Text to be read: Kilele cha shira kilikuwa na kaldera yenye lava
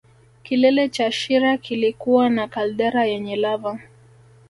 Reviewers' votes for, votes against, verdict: 2, 0, accepted